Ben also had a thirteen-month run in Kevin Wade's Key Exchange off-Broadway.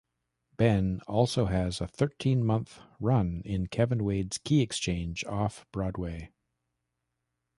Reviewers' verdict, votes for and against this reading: rejected, 1, 2